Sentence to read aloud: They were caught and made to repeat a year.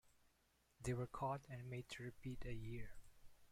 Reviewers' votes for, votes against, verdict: 0, 2, rejected